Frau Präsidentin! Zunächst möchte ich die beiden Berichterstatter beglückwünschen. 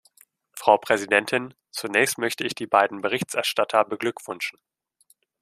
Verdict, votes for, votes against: rejected, 1, 2